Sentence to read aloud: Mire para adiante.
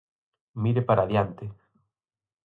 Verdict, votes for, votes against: accepted, 4, 0